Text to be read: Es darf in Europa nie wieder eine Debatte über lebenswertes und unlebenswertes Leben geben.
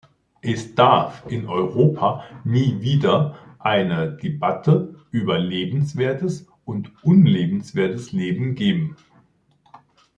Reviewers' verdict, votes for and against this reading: accepted, 2, 0